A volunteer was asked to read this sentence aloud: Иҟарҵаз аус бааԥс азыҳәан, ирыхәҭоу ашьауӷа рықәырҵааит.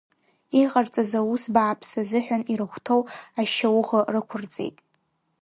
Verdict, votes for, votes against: rejected, 1, 2